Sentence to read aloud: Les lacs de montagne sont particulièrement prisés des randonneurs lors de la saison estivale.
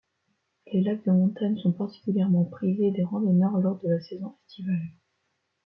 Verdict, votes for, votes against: rejected, 0, 2